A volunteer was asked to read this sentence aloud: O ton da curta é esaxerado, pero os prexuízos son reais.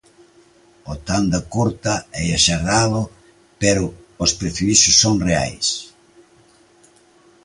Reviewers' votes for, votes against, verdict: 0, 2, rejected